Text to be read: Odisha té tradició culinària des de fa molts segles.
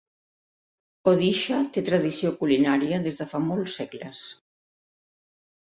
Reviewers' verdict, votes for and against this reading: accepted, 3, 0